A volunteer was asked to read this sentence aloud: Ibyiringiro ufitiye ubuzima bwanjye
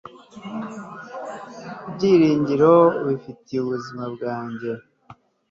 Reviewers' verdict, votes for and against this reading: accepted, 3, 0